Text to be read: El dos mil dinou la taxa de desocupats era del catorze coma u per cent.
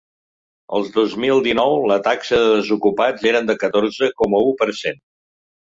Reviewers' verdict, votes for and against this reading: rejected, 1, 2